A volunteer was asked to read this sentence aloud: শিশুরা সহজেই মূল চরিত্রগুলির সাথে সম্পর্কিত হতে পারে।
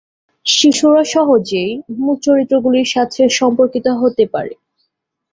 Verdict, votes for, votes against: accepted, 12, 2